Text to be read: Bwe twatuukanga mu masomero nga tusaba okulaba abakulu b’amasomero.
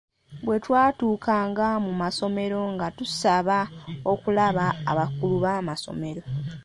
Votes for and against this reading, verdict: 2, 0, accepted